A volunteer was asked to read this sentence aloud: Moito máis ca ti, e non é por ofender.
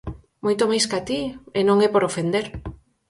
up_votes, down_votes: 4, 0